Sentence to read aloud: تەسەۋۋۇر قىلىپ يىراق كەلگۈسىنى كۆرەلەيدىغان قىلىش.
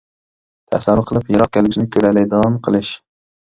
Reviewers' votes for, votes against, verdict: 1, 2, rejected